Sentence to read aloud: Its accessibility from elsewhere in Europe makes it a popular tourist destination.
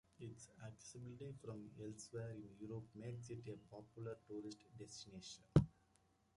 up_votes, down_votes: 1, 2